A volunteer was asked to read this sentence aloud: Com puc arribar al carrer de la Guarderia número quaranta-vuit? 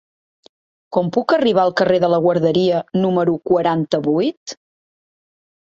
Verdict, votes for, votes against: accepted, 4, 0